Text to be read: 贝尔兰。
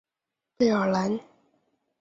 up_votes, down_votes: 2, 0